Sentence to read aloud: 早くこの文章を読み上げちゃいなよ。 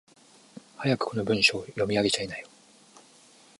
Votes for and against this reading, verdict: 1, 2, rejected